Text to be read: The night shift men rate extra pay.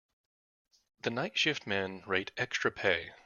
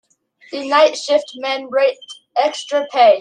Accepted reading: first